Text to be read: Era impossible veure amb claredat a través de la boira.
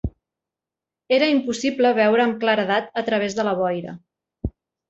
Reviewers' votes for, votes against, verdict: 2, 0, accepted